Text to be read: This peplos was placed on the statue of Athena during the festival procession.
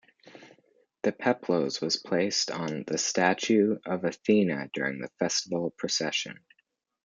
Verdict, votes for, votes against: rejected, 0, 2